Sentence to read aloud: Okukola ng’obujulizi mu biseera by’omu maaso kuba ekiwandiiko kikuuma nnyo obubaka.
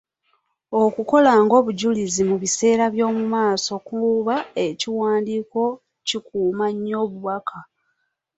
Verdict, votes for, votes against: rejected, 1, 2